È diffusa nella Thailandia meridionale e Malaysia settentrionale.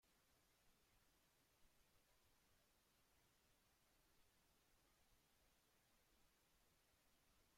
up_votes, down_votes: 0, 2